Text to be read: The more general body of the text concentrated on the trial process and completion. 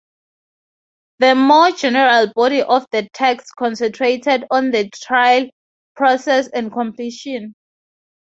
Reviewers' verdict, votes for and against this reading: accepted, 2, 0